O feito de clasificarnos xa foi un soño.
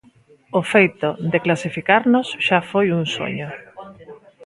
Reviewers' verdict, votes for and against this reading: accepted, 2, 0